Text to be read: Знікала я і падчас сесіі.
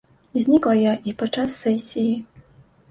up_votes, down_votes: 0, 2